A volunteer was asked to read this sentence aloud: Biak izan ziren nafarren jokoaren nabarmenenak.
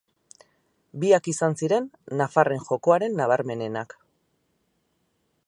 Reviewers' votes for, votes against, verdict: 6, 0, accepted